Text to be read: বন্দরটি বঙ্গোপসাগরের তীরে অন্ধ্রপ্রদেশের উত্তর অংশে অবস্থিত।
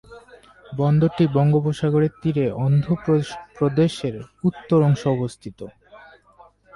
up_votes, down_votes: 0, 2